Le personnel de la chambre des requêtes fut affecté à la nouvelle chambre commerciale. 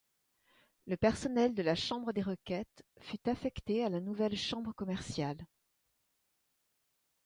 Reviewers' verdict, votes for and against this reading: accepted, 2, 0